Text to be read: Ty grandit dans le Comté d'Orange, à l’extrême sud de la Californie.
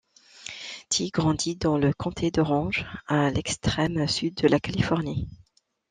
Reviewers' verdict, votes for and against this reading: accepted, 2, 0